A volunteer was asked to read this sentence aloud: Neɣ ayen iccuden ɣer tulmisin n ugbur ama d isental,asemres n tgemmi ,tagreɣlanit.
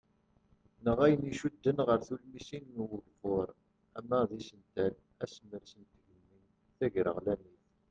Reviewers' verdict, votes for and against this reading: rejected, 0, 2